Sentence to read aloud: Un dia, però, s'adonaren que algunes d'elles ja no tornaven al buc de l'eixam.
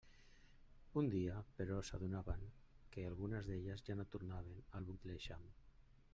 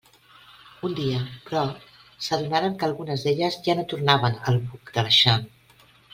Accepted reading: second